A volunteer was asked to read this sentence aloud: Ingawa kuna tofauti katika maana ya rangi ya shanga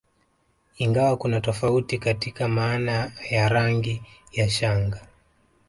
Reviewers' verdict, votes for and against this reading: rejected, 1, 2